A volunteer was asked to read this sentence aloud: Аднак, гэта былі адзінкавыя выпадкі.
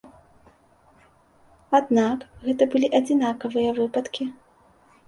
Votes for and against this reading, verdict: 0, 2, rejected